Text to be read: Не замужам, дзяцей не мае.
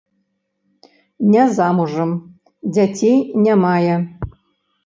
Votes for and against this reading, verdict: 2, 0, accepted